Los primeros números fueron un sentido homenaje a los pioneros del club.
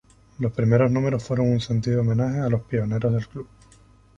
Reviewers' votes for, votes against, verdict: 2, 0, accepted